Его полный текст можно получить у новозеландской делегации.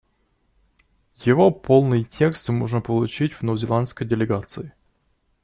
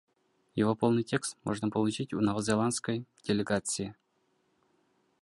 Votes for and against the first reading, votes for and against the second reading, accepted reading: 0, 2, 2, 0, second